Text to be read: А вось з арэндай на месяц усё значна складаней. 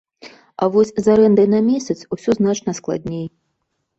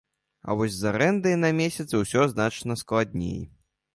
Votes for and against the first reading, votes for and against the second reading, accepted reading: 0, 2, 2, 1, second